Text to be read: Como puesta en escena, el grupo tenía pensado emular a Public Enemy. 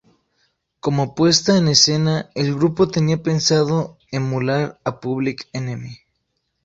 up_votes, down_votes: 4, 0